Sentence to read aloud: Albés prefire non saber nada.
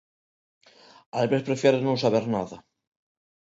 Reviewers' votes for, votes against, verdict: 1, 2, rejected